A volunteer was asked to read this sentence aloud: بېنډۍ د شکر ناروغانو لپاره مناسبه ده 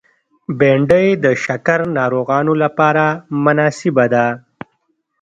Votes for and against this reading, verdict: 0, 2, rejected